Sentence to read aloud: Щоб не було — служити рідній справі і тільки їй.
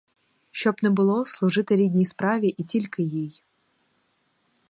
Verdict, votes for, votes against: accepted, 4, 2